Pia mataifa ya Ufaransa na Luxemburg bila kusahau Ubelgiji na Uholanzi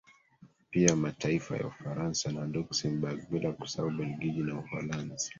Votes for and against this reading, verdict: 1, 2, rejected